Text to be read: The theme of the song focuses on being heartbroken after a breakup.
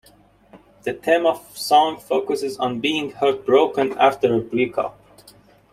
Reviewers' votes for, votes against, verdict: 0, 2, rejected